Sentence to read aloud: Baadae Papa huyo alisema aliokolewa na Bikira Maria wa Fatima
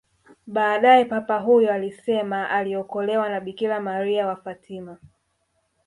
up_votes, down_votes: 1, 2